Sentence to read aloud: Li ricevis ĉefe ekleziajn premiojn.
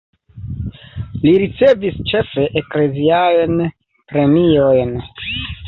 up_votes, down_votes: 1, 2